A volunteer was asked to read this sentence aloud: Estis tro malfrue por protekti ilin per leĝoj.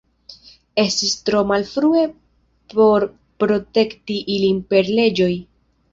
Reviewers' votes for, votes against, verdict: 2, 0, accepted